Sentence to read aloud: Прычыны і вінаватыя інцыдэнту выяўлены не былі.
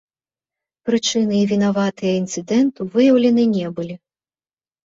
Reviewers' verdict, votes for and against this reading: accepted, 2, 1